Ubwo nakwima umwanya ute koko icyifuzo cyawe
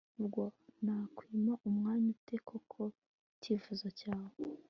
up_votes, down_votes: 2, 0